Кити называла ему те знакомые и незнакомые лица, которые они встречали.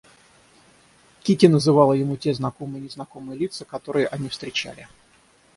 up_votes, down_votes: 6, 0